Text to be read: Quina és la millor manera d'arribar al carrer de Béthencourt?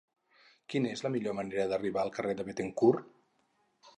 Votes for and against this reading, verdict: 2, 0, accepted